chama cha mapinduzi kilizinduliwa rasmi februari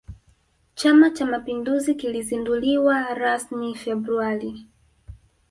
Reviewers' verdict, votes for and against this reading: rejected, 1, 2